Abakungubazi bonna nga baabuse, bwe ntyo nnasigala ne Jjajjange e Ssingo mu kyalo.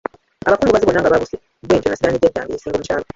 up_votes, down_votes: 1, 2